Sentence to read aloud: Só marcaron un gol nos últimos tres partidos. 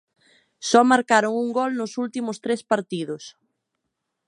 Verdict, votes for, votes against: accepted, 2, 0